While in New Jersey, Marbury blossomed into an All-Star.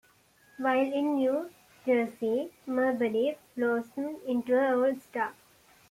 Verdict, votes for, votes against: accepted, 2, 1